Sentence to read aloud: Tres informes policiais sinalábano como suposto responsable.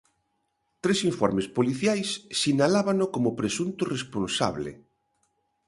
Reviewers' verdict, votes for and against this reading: rejected, 0, 2